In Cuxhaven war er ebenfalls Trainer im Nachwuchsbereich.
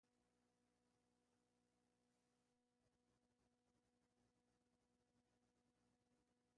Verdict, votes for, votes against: rejected, 0, 2